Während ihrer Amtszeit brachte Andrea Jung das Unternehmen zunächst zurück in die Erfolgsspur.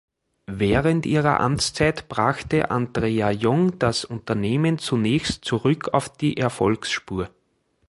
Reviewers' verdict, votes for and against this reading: rejected, 0, 3